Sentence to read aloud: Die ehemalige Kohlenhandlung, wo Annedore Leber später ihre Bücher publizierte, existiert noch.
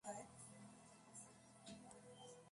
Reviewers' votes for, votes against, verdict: 0, 3, rejected